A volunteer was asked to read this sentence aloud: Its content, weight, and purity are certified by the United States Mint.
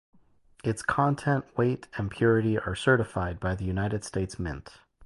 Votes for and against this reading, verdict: 0, 2, rejected